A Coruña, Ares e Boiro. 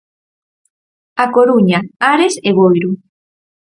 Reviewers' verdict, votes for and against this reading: accepted, 4, 0